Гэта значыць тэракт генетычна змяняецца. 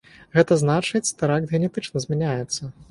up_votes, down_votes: 6, 0